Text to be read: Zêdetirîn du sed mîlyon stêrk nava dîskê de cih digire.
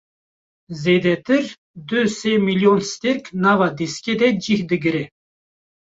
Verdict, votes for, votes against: rejected, 0, 2